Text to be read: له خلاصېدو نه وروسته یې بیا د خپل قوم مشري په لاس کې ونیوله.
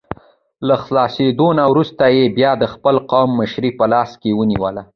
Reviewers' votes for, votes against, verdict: 1, 2, rejected